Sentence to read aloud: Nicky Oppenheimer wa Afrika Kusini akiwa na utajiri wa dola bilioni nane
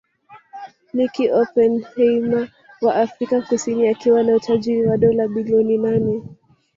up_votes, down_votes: 1, 2